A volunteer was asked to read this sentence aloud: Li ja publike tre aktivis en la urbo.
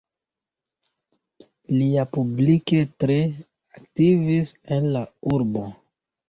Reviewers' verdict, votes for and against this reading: accepted, 2, 0